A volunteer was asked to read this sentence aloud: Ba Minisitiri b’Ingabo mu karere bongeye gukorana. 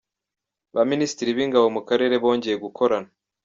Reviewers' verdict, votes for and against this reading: accepted, 2, 0